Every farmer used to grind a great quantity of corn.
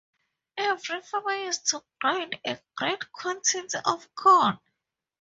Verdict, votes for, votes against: accepted, 2, 0